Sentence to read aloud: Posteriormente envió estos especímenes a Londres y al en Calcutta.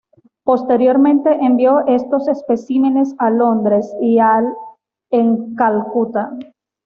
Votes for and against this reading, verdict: 2, 1, accepted